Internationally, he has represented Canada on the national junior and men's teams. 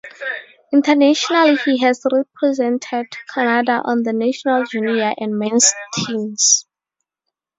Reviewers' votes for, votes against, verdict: 0, 2, rejected